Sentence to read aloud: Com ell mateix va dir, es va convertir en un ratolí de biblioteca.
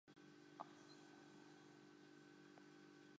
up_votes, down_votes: 0, 3